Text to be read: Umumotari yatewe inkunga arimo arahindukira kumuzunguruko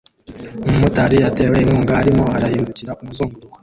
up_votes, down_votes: 1, 2